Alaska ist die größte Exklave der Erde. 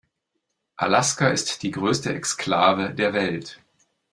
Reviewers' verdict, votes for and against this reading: rejected, 0, 2